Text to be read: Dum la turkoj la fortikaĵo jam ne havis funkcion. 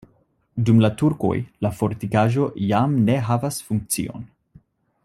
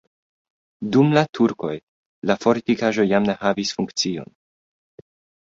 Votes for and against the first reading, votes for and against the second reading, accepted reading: 0, 2, 2, 0, second